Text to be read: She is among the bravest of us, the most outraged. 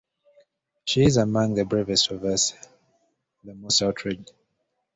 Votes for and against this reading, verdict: 1, 2, rejected